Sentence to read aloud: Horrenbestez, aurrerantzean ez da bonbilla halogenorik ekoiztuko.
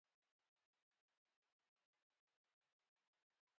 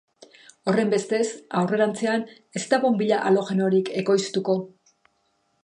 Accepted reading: second